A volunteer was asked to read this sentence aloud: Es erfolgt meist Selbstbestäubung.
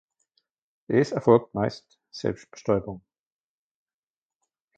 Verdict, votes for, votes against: rejected, 1, 2